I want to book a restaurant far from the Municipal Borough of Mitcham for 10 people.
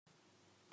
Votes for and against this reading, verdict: 0, 2, rejected